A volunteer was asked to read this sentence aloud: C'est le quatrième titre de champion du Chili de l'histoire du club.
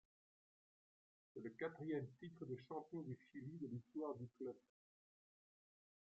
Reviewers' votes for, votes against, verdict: 0, 2, rejected